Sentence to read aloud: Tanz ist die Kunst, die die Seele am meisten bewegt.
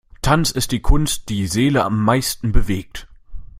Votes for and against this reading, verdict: 0, 2, rejected